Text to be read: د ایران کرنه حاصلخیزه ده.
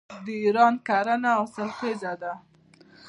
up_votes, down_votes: 1, 2